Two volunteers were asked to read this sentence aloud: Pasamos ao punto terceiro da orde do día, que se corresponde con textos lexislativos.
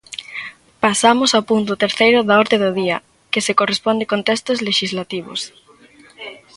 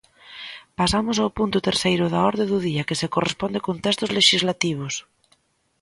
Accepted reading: second